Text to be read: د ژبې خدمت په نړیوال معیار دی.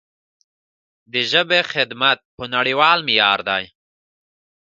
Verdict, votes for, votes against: accepted, 2, 0